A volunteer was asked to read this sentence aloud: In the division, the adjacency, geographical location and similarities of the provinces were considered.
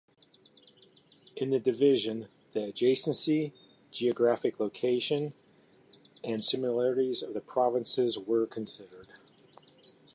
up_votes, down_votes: 2, 0